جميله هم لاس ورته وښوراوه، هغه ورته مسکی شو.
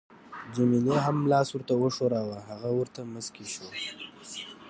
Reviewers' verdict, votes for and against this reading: accepted, 2, 0